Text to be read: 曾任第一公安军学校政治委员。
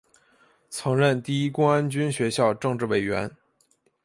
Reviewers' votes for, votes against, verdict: 2, 0, accepted